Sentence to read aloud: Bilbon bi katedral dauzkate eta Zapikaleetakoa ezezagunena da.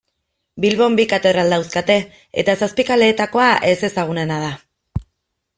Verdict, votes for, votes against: accepted, 2, 0